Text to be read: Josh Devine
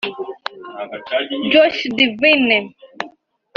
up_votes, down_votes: 1, 2